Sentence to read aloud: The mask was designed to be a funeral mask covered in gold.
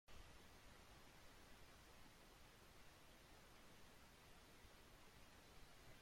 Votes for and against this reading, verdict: 0, 2, rejected